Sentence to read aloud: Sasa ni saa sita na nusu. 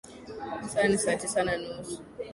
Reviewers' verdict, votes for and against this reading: accepted, 4, 1